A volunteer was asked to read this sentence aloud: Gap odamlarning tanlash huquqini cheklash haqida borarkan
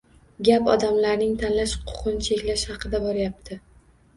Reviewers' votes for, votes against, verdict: 1, 2, rejected